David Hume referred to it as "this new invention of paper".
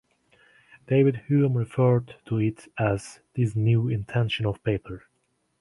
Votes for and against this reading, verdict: 1, 2, rejected